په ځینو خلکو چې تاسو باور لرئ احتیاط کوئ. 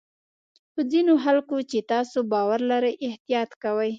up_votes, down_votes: 2, 0